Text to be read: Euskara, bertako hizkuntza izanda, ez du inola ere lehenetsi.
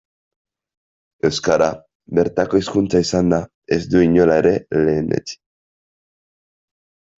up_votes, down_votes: 2, 0